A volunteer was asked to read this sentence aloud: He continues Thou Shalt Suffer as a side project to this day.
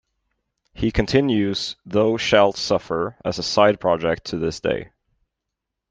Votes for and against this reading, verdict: 0, 2, rejected